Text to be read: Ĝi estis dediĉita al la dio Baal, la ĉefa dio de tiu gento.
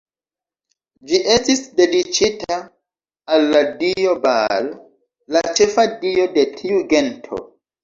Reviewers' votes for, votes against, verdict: 1, 2, rejected